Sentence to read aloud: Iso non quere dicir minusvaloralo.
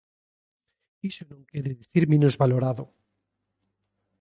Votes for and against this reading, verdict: 1, 2, rejected